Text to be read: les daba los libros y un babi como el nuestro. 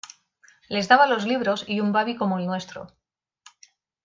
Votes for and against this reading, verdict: 2, 0, accepted